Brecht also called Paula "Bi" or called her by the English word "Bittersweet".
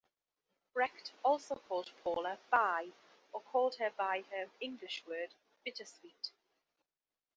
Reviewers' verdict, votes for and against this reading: accepted, 2, 0